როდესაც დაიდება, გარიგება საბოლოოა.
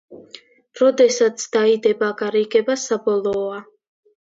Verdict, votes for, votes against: accepted, 2, 0